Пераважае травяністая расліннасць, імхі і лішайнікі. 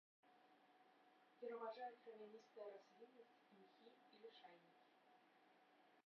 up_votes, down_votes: 0, 2